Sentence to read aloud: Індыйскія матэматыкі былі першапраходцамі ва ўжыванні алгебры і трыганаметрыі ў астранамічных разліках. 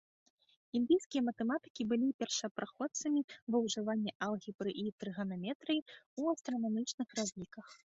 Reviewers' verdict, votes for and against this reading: accepted, 2, 0